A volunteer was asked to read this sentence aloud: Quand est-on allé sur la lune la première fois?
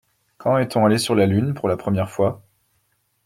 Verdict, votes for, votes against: rejected, 1, 2